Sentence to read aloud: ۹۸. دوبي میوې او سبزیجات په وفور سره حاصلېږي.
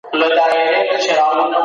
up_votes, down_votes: 0, 2